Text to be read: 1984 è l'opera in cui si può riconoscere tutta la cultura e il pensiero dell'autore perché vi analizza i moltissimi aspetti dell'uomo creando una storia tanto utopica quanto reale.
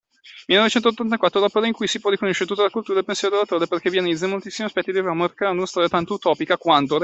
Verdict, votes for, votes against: rejected, 0, 2